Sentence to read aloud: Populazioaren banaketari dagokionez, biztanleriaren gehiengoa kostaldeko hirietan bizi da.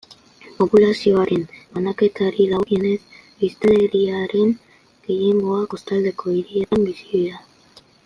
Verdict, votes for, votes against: rejected, 1, 2